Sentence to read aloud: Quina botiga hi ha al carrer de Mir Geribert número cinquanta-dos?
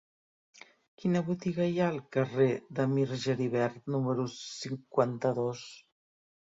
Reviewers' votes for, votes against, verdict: 1, 2, rejected